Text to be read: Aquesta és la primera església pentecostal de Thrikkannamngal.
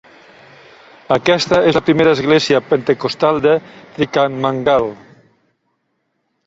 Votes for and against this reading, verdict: 0, 2, rejected